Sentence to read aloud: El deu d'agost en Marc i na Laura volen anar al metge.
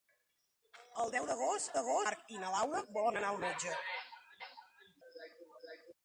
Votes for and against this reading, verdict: 1, 2, rejected